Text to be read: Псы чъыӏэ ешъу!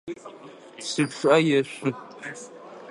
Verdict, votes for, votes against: rejected, 1, 2